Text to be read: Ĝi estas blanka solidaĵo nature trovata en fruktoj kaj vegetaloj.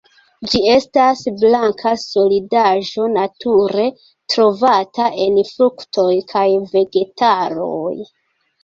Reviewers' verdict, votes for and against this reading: accepted, 2, 0